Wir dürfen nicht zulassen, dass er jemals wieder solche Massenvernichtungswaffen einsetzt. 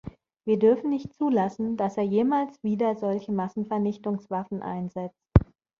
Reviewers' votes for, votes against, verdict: 3, 0, accepted